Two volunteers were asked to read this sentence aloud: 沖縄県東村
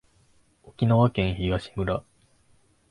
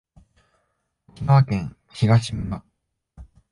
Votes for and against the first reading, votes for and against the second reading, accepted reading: 2, 0, 1, 2, first